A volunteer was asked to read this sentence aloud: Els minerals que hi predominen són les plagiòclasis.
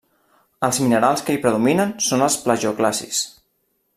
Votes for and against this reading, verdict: 0, 2, rejected